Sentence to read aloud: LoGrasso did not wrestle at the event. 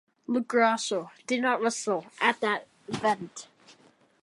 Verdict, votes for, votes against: rejected, 0, 2